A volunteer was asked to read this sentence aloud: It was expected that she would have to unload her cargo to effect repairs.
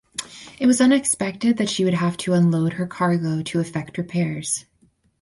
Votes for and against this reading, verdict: 0, 2, rejected